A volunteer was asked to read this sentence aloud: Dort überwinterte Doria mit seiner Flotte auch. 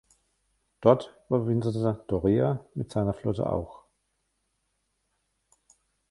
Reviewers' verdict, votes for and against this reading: rejected, 1, 2